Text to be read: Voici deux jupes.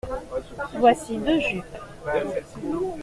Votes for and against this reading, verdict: 0, 2, rejected